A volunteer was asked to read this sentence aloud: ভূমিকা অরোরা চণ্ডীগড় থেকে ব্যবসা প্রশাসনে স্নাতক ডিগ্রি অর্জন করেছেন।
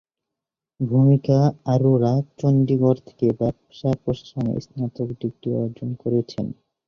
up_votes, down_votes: 1, 2